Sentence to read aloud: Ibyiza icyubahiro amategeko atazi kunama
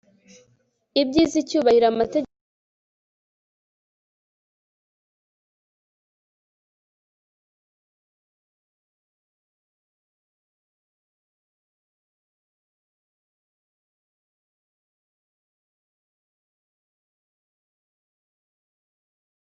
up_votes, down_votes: 1, 2